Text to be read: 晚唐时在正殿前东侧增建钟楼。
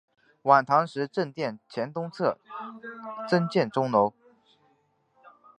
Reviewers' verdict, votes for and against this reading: accepted, 2, 1